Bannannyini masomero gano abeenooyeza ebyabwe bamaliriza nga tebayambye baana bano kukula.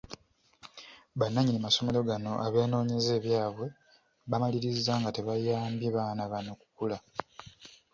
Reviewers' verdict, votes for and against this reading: accepted, 2, 0